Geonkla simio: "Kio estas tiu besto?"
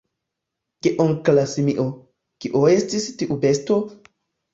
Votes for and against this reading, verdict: 1, 2, rejected